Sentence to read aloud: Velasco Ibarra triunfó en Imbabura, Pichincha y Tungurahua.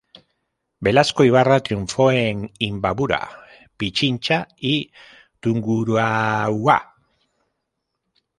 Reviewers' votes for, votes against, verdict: 0, 2, rejected